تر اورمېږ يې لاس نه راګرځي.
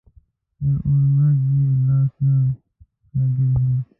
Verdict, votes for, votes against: rejected, 1, 2